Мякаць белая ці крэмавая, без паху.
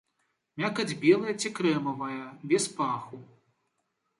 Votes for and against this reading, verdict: 1, 2, rejected